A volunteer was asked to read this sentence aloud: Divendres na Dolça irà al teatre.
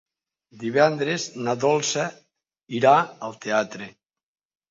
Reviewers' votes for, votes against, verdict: 2, 0, accepted